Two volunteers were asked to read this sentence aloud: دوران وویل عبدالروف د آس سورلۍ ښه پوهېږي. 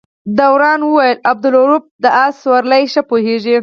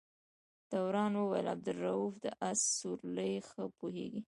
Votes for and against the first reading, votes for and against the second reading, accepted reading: 0, 4, 2, 0, second